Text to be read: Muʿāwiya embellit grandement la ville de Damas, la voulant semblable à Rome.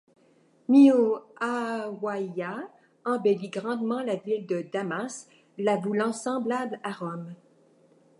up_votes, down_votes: 2, 0